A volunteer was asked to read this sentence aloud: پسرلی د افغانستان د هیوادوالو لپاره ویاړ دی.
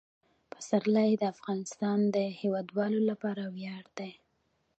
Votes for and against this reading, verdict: 2, 1, accepted